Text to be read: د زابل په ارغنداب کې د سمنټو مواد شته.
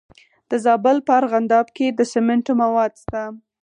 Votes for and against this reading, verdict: 2, 4, rejected